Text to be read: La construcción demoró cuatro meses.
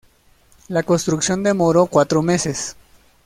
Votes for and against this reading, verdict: 2, 0, accepted